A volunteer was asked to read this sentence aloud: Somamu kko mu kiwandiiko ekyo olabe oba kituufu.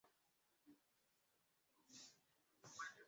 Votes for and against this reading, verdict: 0, 2, rejected